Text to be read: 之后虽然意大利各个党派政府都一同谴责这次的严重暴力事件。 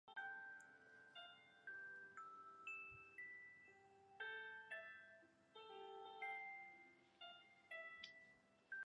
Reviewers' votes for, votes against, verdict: 0, 3, rejected